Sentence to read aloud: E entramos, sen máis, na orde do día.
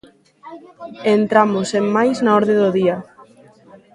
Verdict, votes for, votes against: accepted, 2, 1